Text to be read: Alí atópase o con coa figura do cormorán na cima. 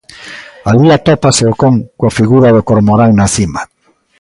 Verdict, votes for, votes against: accepted, 2, 0